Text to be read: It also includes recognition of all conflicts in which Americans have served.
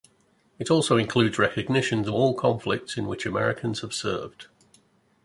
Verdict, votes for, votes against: accepted, 2, 0